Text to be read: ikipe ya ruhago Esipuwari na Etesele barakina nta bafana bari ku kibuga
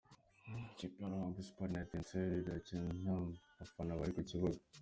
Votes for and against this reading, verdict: 3, 0, accepted